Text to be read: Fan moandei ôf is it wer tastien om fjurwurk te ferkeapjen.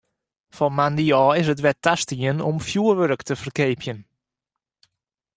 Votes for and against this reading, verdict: 2, 0, accepted